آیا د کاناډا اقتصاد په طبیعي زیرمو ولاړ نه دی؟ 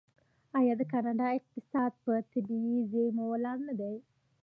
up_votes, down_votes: 2, 0